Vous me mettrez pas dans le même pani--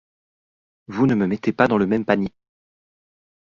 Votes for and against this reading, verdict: 0, 2, rejected